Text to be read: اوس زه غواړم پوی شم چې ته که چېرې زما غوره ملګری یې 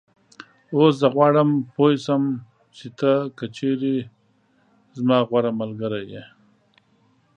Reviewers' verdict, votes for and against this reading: accepted, 2, 0